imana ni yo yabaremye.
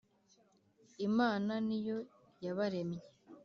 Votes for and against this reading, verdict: 1, 2, rejected